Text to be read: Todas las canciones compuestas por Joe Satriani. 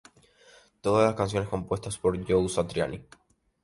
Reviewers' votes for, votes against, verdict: 0, 2, rejected